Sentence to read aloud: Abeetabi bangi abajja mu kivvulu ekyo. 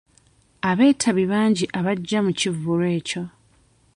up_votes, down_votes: 2, 0